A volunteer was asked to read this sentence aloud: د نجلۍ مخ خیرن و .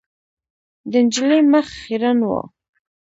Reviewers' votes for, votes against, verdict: 1, 2, rejected